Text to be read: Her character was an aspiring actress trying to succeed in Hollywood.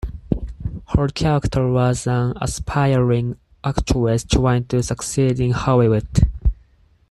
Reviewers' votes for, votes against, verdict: 4, 0, accepted